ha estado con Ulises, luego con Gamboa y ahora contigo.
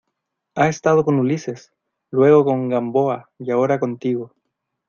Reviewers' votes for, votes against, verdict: 2, 0, accepted